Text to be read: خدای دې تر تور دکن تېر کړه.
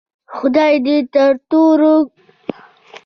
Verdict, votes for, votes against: rejected, 1, 2